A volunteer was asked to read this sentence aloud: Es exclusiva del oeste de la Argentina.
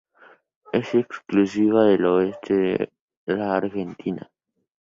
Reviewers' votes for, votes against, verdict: 0, 2, rejected